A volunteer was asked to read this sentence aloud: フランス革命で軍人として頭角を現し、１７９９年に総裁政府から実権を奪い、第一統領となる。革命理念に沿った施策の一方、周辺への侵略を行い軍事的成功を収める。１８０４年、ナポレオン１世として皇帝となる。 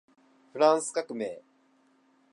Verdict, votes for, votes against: rejected, 0, 2